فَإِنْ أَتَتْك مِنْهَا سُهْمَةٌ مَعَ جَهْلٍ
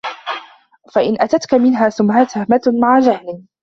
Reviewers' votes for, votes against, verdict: 0, 2, rejected